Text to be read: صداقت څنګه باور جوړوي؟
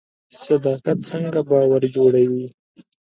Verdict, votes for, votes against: accepted, 2, 0